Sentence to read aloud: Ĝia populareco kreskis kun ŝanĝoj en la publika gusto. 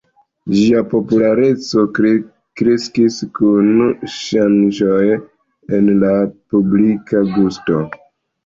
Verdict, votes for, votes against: accepted, 2, 0